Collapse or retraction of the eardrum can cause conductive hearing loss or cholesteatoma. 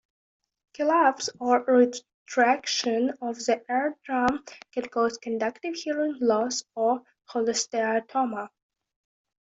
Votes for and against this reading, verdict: 0, 2, rejected